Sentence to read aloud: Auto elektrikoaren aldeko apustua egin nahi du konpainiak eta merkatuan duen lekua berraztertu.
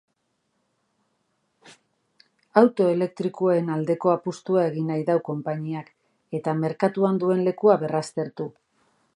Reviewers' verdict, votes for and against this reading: rejected, 0, 2